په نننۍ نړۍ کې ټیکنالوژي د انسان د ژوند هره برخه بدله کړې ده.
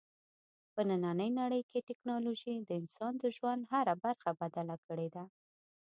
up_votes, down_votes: 2, 0